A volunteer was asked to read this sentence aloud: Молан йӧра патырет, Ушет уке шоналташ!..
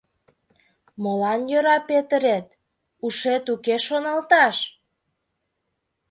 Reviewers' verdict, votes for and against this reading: rejected, 1, 2